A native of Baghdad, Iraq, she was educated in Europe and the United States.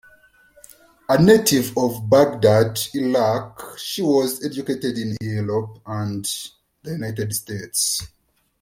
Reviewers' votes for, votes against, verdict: 2, 1, accepted